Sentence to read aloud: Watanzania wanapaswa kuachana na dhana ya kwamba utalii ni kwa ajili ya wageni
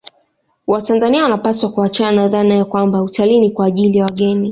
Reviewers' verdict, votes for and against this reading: rejected, 1, 2